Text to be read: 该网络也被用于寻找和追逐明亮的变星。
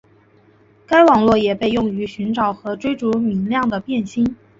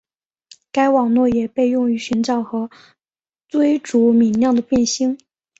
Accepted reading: first